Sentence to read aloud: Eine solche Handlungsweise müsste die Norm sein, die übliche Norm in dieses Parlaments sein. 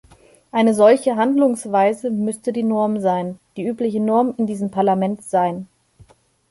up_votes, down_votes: 1, 2